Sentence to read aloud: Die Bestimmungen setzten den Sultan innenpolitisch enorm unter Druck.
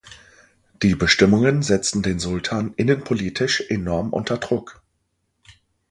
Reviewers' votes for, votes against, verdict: 2, 0, accepted